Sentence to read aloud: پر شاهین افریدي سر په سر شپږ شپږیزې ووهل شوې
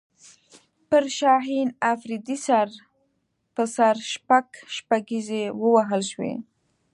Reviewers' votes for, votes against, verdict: 2, 0, accepted